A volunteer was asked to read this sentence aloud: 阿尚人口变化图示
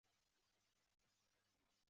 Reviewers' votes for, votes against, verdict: 0, 2, rejected